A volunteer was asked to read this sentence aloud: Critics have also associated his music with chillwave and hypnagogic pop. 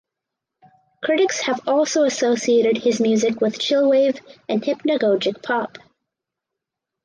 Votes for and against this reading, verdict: 4, 0, accepted